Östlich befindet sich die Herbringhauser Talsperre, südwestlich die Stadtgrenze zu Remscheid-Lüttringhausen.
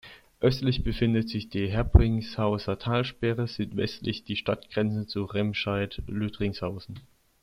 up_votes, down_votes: 1, 2